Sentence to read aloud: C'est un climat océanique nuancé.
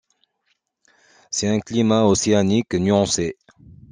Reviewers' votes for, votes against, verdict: 2, 0, accepted